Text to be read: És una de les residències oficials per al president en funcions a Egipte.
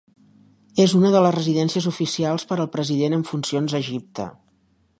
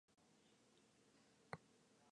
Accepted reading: first